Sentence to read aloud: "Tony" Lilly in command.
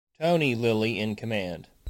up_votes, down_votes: 2, 0